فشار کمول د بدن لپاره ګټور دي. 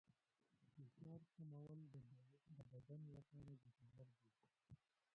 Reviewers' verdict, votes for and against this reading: accepted, 2, 1